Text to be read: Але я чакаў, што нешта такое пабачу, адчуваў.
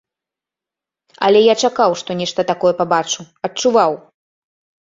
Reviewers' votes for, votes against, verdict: 2, 0, accepted